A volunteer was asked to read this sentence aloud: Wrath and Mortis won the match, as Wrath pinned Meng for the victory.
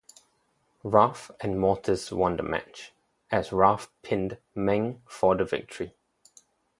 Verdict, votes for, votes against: accepted, 4, 0